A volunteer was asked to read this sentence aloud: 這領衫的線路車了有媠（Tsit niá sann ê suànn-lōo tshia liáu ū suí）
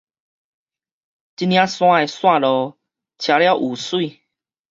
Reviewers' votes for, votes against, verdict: 2, 2, rejected